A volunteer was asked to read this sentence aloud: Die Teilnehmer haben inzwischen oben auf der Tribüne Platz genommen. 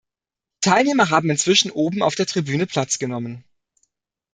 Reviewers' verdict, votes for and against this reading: rejected, 0, 2